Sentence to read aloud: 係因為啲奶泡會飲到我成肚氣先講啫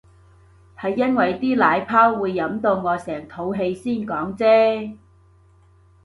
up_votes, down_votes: 2, 0